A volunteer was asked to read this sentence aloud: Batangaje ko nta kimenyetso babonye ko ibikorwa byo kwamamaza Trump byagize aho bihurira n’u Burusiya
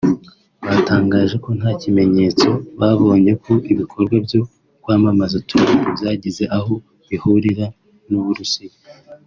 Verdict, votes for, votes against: accepted, 2, 0